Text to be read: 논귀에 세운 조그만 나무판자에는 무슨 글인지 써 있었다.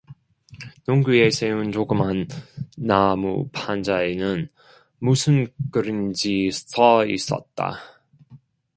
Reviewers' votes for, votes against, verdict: 1, 2, rejected